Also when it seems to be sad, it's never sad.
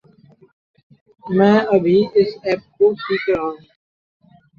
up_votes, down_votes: 0, 2